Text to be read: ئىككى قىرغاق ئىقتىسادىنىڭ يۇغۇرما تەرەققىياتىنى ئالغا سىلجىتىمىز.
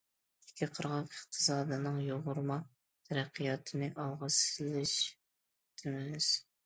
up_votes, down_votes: 0, 2